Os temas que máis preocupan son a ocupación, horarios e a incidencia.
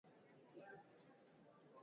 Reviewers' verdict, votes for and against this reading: rejected, 0, 3